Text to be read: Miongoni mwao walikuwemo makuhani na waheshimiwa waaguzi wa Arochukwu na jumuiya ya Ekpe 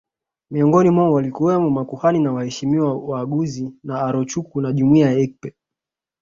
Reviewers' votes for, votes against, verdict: 1, 2, rejected